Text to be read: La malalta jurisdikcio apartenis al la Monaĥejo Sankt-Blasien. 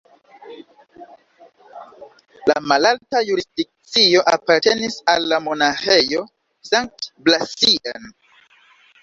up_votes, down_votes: 2, 0